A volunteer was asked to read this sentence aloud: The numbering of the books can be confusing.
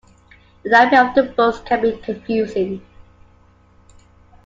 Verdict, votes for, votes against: rejected, 0, 2